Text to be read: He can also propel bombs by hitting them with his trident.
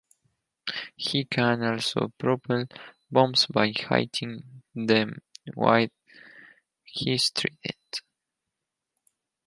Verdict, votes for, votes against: rejected, 2, 4